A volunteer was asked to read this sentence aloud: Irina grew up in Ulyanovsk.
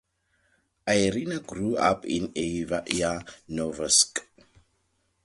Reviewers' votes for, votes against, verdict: 0, 2, rejected